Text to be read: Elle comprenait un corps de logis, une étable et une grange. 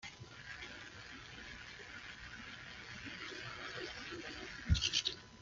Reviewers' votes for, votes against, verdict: 0, 2, rejected